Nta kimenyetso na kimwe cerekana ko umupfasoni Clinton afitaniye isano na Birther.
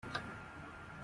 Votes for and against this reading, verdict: 0, 2, rejected